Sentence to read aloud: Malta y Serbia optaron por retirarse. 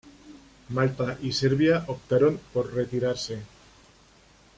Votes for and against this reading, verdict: 2, 0, accepted